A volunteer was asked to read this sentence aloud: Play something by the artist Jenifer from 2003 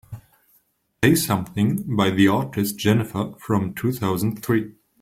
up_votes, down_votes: 0, 2